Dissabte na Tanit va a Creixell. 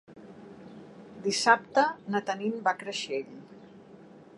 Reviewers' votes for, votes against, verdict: 3, 1, accepted